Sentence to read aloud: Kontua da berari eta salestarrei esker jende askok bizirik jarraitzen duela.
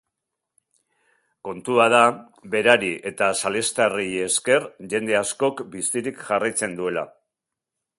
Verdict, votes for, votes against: accepted, 2, 0